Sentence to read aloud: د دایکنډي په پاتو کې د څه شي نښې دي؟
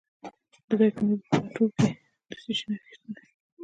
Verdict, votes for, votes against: rejected, 0, 2